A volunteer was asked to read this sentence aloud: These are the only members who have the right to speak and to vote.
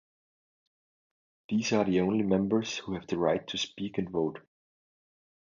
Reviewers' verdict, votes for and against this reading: rejected, 1, 2